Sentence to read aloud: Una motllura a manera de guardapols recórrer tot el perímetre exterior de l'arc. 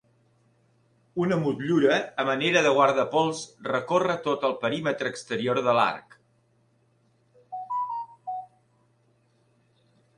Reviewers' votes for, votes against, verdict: 2, 0, accepted